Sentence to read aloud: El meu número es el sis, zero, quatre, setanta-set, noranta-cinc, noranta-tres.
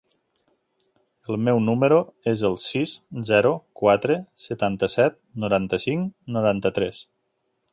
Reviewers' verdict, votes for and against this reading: accepted, 3, 0